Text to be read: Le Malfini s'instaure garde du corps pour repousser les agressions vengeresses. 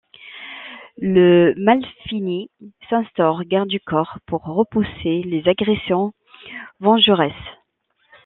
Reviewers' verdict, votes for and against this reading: accepted, 2, 0